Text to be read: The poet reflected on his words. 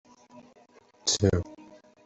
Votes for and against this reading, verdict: 0, 2, rejected